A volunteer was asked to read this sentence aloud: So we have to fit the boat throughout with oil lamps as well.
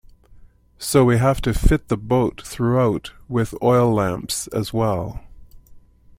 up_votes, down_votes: 2, 0